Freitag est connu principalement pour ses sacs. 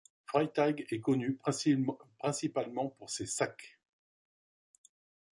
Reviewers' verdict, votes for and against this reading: rejected, 0, 2